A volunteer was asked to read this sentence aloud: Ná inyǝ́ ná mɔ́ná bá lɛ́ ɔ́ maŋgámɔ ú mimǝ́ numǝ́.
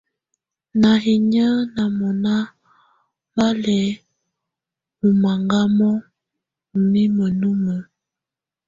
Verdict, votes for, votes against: accepted, 2, 0